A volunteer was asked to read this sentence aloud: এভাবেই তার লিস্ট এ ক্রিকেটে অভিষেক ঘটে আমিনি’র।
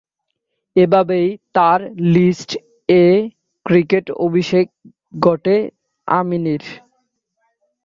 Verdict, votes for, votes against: rejected, 0, 3